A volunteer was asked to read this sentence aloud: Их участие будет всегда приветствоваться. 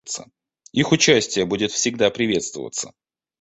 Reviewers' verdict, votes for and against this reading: accepted, 3, 0